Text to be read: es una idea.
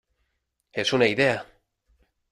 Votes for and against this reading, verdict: 2, 0, accepted